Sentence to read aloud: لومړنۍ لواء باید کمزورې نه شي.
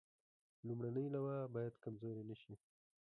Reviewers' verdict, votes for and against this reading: rejected, 1, 2